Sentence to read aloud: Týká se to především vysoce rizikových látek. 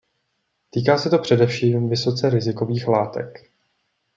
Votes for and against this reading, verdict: 2, 0, accepted